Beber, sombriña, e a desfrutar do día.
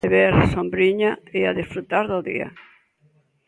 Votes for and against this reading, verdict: 2, 0, accepted